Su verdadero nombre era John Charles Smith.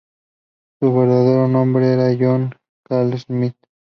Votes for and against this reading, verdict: 2, 0, accepted